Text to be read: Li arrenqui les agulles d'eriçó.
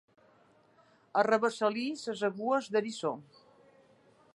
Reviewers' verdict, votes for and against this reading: rejected, 0, 2